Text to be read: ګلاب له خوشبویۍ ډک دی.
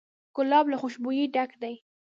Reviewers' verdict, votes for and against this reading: accepted, 2, 1